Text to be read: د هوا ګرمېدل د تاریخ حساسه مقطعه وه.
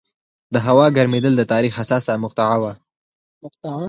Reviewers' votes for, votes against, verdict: 4, 0, accepted